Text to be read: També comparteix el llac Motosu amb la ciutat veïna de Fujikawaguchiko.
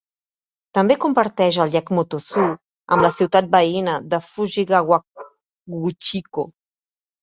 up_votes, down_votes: 0, 2